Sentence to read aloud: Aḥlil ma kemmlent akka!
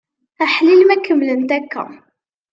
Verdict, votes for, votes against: accepted, 2, 0